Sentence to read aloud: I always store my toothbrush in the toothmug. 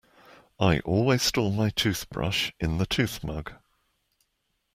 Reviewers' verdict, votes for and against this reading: accepted, 2, 0